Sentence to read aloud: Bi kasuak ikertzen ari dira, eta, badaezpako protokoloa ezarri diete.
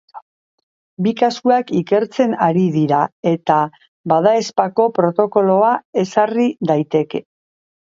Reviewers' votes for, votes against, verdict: 0, 2, rejected